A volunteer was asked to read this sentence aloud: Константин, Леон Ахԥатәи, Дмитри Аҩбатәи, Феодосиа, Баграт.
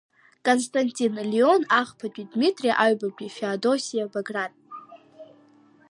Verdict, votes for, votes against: rejected, 0, 2